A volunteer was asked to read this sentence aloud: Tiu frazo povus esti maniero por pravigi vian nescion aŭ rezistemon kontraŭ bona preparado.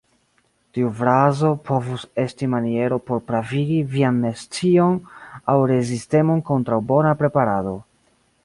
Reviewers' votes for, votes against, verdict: 2, 1, accepted